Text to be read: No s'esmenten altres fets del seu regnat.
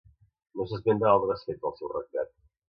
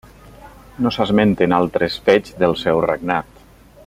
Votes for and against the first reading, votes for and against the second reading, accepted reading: 1, 2, 2, 0, second